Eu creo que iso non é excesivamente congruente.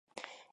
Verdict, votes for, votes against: rejected, 0, 2